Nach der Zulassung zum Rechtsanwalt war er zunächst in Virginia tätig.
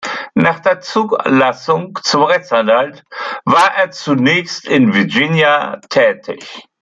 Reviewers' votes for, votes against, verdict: 1, 2, rejected